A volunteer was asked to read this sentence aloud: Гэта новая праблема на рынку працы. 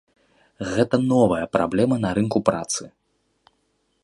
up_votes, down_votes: 2, 0